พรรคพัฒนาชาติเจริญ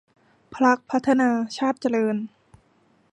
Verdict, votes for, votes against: rejected, 1, 2